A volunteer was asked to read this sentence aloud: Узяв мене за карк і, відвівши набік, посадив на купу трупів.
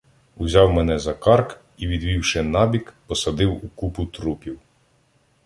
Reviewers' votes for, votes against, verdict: 0, 2, rejected